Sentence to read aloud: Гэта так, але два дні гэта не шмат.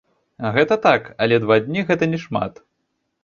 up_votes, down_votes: 0, 2